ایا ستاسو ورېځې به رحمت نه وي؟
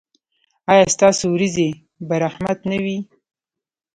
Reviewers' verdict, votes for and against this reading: rejected, 1, 2